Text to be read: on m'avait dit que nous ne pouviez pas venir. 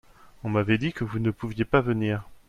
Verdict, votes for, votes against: rejected, 1, 2